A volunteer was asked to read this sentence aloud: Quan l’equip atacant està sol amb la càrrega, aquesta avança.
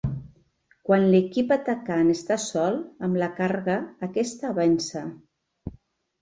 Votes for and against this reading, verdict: 0, 2, rejected